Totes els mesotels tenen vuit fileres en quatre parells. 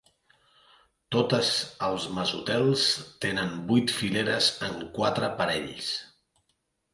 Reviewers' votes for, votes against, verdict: 2, 0, accepted